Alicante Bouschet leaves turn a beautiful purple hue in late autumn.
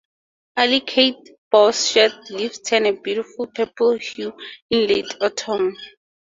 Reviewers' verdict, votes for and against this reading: rejected, 0, 2